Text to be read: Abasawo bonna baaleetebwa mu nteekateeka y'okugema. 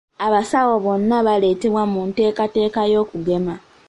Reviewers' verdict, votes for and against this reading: accepted, 2, 0